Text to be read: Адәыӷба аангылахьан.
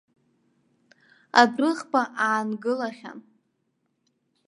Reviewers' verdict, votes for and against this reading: accepted, 2, 0